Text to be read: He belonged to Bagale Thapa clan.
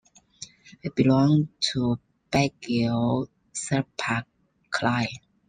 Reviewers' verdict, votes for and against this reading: accepted, 2, 0